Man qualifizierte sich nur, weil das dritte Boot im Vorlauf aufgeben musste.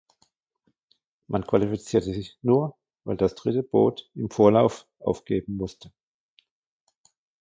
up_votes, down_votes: 0, 2